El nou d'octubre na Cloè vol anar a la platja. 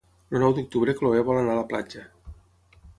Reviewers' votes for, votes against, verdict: 3, 6, rejected